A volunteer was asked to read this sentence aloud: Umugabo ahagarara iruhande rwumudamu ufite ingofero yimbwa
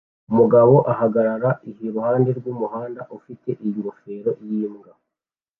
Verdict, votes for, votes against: rejected, 1, 2